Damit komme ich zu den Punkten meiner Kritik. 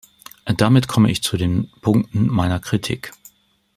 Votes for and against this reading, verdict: 2, 0, accepted